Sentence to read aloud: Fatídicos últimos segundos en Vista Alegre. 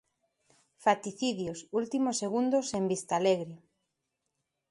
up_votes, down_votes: 0, 2